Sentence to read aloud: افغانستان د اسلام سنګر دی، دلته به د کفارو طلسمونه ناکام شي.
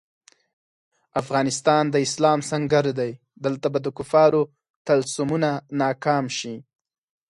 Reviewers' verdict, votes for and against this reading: accepted, 4, 0